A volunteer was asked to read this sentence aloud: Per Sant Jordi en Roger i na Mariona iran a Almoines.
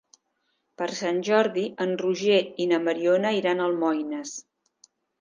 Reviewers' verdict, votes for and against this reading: accepted, 3, 0